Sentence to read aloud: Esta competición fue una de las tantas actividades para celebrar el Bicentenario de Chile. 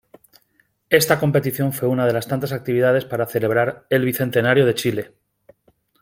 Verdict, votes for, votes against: accepted, 2, 0